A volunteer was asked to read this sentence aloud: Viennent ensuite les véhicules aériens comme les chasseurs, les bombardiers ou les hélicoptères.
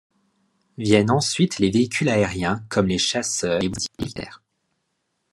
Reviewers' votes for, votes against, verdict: 1, 2, rejected